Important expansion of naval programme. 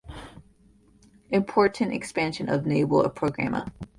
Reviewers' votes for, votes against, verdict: 1, 2, rejected